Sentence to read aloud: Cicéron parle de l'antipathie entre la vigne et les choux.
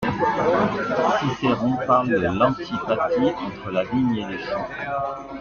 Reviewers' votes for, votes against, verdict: 0, 2, rejected